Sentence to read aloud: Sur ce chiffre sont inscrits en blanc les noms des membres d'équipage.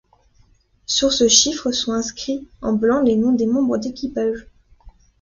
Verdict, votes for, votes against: accepted, 2, 0